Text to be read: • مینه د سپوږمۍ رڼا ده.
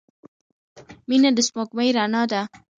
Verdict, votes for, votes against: rejected, 1, 2